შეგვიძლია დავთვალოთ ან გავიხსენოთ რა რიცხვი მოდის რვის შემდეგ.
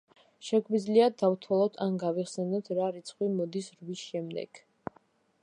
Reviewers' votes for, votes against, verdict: 1, 2, rejected